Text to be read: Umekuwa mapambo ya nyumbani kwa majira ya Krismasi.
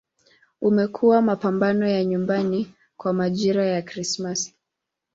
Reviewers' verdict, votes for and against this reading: rejected, 1, 6